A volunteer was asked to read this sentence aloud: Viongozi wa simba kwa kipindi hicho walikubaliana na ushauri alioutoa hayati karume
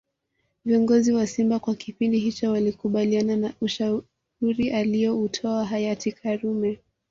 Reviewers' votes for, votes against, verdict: 2, 0, accepted